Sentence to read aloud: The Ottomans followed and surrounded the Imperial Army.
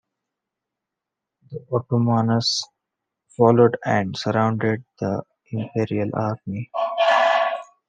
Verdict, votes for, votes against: accepted, 2, 0